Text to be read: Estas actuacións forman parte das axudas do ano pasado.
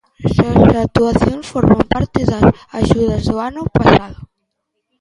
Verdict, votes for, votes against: accepted, 2, 1